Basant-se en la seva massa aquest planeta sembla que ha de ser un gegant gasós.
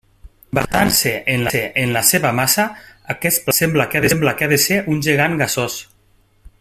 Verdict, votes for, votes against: rejected, 0, 2